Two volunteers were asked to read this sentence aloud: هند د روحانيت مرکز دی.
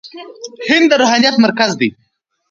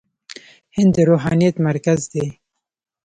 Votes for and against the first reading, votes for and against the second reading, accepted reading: 2, 0, 0, 2, first